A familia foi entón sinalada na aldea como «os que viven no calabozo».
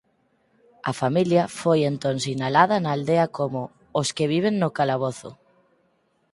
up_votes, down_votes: 4, 0